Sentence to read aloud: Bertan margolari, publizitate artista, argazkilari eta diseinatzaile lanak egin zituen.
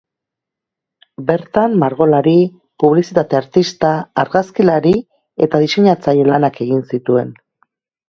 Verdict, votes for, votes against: accepted, 2, 0